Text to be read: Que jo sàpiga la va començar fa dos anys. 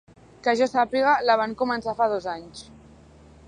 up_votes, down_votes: 0, 2